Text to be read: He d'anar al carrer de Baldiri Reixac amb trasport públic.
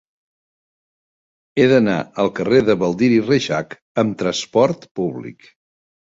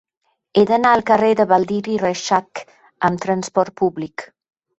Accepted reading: second